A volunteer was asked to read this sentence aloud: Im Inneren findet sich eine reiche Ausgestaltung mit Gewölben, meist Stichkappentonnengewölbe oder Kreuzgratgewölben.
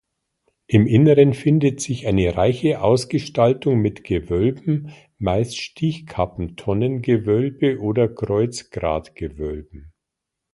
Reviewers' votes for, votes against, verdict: 0, 2, rejected